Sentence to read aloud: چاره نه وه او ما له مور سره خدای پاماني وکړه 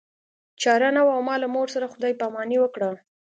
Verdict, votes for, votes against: accepted, 2, 0